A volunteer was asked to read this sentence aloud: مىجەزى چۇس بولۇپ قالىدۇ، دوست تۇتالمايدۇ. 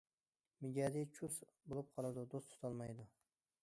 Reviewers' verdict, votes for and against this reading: accepted, 2, 0